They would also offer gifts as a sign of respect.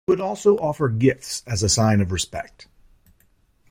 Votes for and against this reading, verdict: 1, 2, rejected